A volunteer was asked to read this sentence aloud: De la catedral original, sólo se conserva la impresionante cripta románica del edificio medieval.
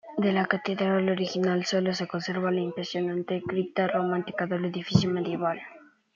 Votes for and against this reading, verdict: 1, 2, rejected